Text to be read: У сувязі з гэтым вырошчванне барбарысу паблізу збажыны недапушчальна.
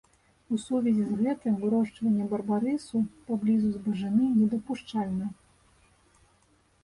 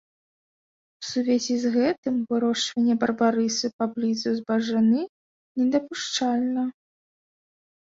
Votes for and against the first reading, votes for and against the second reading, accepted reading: 0, 2, 2, 1, second